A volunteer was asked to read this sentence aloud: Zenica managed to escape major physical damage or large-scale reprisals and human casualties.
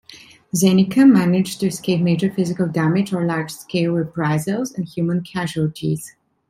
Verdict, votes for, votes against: accepted, 2, 1